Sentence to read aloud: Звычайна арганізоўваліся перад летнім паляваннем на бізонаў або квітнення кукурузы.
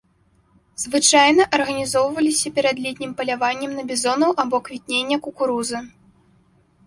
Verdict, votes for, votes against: accepted, 2, 0